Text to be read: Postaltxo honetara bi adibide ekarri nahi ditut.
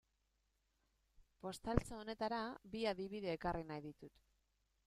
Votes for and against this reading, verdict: 2, 0, accepted